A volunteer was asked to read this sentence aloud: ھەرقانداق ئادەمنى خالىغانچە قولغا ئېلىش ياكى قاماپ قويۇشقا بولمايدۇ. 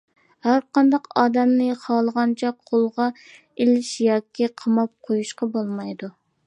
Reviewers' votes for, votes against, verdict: 2, 1, accepted